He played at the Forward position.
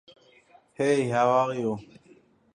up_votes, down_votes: 0, 2